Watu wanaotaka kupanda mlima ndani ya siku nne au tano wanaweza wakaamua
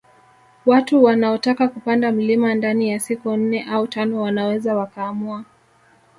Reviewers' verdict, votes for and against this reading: accepted, 2, 0